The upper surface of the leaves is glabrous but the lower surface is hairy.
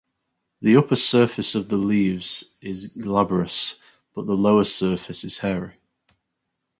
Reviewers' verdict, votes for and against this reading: accepted, 4, 0